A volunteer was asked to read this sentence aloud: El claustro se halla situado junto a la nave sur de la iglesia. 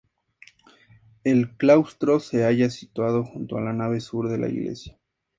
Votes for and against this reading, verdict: 2, 0, accepted